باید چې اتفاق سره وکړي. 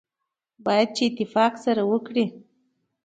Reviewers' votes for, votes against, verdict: 1, 2, rejected